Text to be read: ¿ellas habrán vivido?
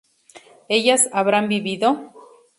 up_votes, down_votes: 2, 0